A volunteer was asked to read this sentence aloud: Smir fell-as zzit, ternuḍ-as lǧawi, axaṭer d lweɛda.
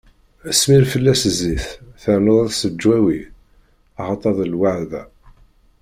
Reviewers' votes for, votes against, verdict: 0, 2, rejected